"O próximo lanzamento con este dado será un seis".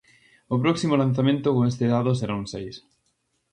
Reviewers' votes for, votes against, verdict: 2, 0, accepted